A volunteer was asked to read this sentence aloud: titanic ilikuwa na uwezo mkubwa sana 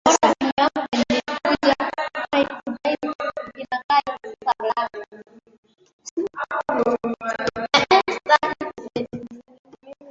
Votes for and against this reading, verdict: 0, 2, rejected